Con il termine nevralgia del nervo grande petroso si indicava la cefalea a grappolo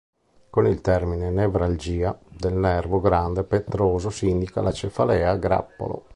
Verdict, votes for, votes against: rejected, 0, 3